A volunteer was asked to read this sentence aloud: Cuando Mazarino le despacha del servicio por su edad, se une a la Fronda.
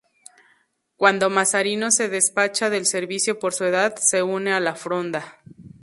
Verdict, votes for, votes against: rejected, 0, 2